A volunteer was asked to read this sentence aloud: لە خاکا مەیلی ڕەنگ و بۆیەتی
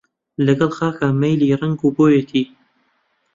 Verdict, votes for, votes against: rejected, 0, 2